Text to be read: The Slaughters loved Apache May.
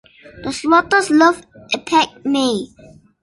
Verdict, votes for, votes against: rejected, 0, 2